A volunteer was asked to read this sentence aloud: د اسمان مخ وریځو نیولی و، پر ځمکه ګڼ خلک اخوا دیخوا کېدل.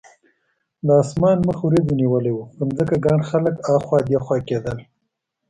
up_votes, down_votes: 2, 0